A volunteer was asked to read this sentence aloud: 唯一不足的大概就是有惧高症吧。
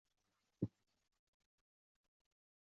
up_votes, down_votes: 1, 2